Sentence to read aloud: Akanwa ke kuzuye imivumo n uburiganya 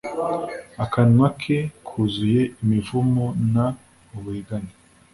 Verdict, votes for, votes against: accepted, 2, 0